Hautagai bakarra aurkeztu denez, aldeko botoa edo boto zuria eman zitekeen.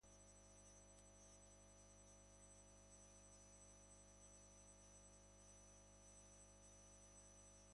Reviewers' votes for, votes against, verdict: 0, 2, rejected